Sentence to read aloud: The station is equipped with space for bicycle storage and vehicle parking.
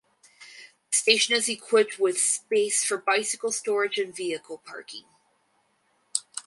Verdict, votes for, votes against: accepted, 4, 0